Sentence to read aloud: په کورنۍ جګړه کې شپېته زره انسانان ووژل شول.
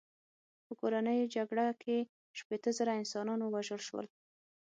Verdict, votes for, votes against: accepted, 6, 0